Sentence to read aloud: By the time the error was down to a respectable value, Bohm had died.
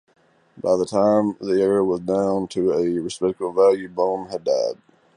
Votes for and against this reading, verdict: 2, 0, accepted